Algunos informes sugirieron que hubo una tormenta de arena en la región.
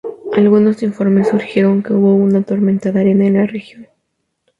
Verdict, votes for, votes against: rejected, 0, 2